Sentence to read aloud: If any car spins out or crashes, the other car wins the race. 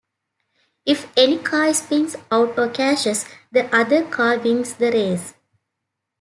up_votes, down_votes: 2, 1